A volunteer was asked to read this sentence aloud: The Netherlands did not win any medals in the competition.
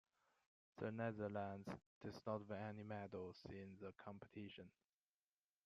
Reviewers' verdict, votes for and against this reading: accepted, 2, 1